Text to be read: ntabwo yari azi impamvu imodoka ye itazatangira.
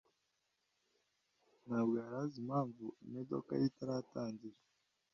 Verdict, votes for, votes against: rejected, 0, 2